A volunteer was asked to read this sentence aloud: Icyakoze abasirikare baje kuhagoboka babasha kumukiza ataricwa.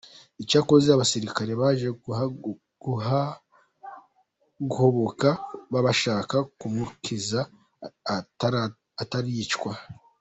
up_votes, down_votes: 0, 3